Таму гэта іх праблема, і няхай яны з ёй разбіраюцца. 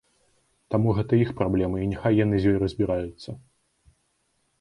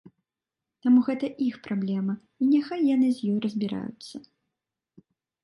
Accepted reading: first